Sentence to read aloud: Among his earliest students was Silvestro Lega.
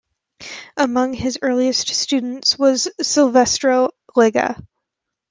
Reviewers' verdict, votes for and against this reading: accepted, 2, 0